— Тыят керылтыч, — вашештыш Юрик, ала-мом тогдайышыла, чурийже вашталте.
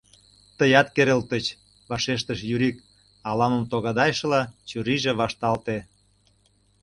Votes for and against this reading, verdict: 0, 2, rejected